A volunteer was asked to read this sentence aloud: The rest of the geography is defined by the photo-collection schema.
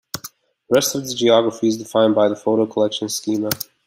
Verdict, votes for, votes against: accepted, 2, 0